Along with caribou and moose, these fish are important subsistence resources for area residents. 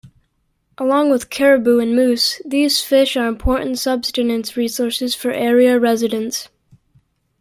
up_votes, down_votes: 0, 2